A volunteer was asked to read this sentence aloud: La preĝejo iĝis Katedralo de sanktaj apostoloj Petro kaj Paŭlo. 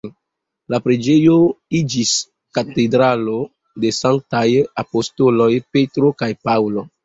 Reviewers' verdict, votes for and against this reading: accepted, 2, 0